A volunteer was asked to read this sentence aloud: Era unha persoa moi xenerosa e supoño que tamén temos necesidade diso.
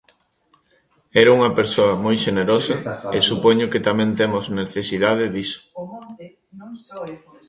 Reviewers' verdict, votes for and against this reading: rejected, 1, 2